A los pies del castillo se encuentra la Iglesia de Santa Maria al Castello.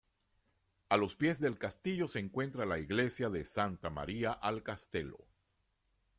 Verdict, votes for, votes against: accepted, 2, 0